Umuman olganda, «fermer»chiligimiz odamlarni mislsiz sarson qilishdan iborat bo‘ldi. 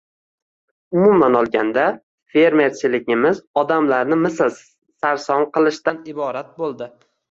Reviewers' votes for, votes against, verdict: 2, 0, accepted